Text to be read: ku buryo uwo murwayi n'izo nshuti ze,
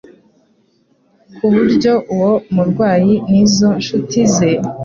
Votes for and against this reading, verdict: 2, 0, accepted